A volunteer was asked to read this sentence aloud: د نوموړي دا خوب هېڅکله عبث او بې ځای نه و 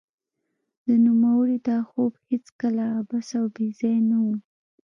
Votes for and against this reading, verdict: 0, 2, rejected